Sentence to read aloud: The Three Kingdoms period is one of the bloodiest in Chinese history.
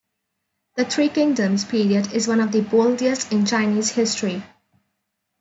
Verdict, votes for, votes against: rejected, 1, 2